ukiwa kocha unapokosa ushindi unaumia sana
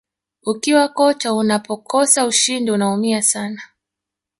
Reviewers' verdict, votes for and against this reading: rejected, 1, 2